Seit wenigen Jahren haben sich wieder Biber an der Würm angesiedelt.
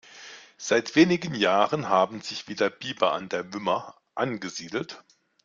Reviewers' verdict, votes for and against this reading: rejected, 0, 2